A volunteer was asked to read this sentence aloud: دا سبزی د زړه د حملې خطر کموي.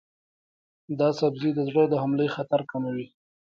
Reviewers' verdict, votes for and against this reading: rejected, 1, 2